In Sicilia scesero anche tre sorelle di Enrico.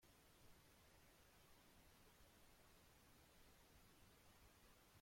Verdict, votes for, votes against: rejected, 0, 2